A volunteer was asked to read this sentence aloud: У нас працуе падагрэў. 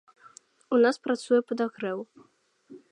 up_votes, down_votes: 2, 0